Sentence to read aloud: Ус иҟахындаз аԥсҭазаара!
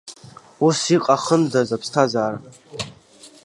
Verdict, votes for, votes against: rejected, 1, 2